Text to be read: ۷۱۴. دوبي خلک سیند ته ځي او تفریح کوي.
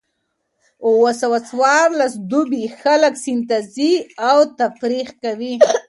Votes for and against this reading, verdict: 0, 2, rejected